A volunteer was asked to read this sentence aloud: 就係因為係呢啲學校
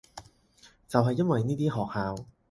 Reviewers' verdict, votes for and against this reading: rejected, 2, 4